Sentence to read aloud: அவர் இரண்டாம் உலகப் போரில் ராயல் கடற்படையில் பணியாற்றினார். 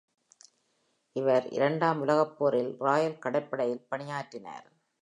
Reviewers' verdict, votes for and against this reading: rejected, 1, 2